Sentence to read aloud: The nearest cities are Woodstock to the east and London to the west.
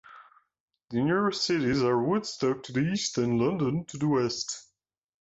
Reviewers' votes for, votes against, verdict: 2, 1, accepted